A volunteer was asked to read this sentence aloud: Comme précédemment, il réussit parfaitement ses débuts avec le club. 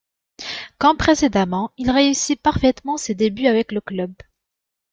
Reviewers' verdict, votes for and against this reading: accepted, 2, 0